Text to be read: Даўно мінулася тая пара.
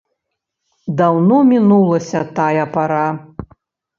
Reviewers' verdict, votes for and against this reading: accepted, 2, 0